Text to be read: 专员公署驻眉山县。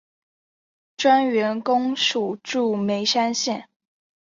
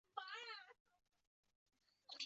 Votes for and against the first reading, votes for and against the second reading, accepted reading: 2, 0, 0, 2, first